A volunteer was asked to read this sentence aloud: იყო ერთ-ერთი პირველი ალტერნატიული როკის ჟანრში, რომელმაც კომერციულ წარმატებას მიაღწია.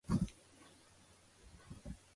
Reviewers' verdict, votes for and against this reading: accepted, 2, 1